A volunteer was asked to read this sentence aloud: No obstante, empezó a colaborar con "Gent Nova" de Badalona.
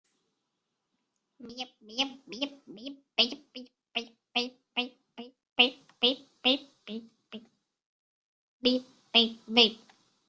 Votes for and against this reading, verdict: 0, 2, rejected